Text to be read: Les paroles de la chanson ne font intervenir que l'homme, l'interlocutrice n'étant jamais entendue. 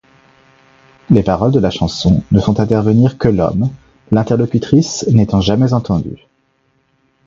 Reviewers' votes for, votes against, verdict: 2, 0, accepted